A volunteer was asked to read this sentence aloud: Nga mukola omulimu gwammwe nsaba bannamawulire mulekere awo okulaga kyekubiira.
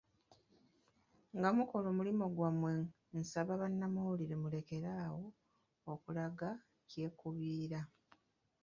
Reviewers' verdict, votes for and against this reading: rejected, 1, 2